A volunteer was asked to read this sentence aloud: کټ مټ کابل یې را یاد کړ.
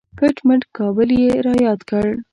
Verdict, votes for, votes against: accepted, 2, 1